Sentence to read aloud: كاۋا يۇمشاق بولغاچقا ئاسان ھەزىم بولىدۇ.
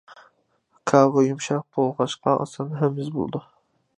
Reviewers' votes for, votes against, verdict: 0, 2, rejected